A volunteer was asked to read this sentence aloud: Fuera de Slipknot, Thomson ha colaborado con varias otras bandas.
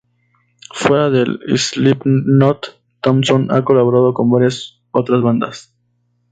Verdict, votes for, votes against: rejected, 0, 2